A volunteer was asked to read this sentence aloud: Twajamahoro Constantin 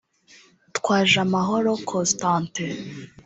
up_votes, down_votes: 2, 0